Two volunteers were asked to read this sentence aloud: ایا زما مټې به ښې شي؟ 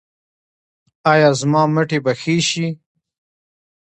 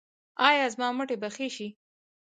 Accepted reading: first